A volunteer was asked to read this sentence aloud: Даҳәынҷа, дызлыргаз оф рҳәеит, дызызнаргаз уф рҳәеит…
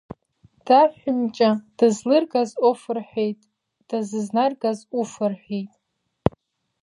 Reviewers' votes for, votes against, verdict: 1, 2, rejected